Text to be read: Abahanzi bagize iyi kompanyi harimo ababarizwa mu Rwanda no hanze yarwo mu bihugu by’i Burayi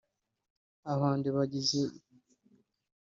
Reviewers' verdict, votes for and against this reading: rejected, 0, 3